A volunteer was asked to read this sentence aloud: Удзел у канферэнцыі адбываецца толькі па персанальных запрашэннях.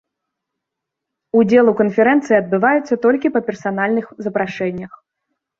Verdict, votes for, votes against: accepted, 2, 0